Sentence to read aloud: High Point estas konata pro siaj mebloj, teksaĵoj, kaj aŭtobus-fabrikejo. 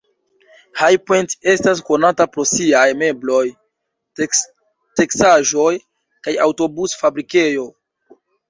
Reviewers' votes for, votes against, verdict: 1, 2, rejected